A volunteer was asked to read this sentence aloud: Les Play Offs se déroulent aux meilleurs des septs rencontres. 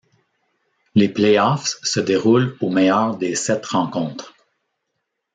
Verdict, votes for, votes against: accepted, 2, 0